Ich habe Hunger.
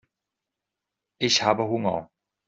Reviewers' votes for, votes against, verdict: 2, 0, accepted